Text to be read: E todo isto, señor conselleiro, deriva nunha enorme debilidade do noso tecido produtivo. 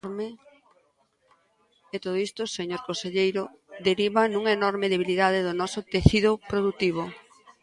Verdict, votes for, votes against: rejected, 0, 2